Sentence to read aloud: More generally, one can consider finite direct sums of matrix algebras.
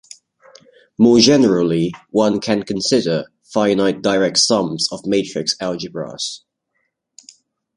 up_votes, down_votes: 2, 0